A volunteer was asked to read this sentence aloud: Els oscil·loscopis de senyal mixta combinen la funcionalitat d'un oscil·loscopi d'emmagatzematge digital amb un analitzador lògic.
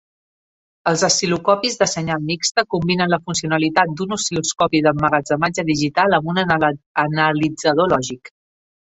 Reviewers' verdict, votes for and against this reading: rejected, 0, 2